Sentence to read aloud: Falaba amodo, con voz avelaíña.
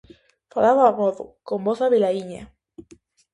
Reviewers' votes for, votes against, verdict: 2, 0, accepted